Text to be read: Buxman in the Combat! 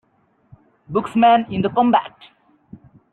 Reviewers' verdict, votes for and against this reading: accepted, 2, 0